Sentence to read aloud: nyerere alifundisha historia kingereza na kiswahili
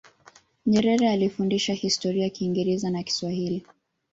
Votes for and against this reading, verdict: 1, 2, rejected